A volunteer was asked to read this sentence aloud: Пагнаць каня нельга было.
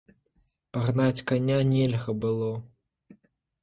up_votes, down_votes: 2, 0